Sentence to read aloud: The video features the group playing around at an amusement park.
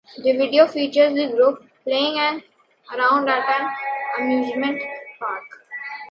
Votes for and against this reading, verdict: 2, 0, accepted